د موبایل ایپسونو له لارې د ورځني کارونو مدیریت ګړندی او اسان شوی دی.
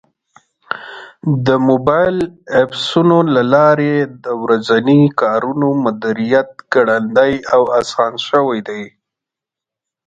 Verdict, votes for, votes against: accepted, 2, 1